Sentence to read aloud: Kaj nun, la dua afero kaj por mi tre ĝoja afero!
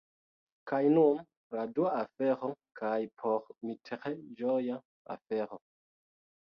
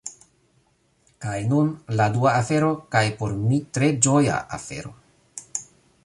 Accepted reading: second